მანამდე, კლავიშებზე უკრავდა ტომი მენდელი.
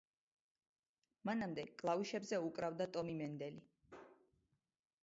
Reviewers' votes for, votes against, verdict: 2, 0, accepted